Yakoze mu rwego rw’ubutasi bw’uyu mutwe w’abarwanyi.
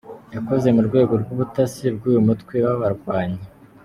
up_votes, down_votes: 2, 0